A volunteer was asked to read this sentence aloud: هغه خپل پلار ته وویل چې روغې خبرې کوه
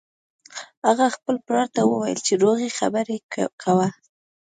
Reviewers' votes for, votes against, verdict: 2, 0, accepted